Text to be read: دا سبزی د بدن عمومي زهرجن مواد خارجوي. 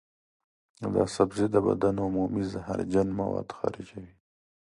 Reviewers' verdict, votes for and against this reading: accepted, 2, 0